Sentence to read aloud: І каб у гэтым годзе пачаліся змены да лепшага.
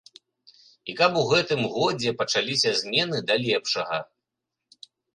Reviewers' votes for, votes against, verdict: 2, 0, accepted